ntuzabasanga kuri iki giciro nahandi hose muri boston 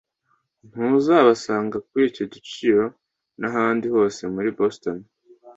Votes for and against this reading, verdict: 2, 0, accepted